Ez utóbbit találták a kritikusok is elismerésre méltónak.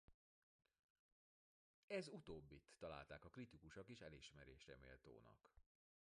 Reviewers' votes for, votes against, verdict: 0, 2, rejected